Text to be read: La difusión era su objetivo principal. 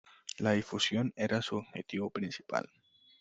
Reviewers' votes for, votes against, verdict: 2, 0, accepted